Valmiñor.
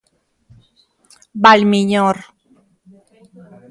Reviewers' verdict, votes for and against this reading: accepted, 2, 0